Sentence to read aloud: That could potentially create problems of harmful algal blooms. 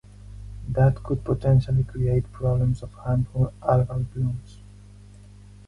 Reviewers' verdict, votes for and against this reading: rejected, 2, 4